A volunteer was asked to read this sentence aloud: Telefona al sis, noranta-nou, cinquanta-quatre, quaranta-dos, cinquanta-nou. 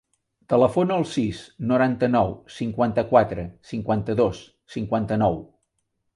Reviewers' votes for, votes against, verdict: 2, 3, rejected